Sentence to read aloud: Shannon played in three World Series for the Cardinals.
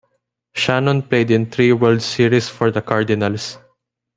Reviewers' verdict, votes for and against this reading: accepted, 2, 0